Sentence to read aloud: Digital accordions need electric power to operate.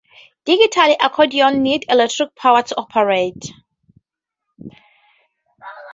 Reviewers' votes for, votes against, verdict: 2, 0, accepted